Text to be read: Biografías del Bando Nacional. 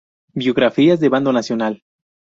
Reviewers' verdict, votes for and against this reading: rejected, 0, 4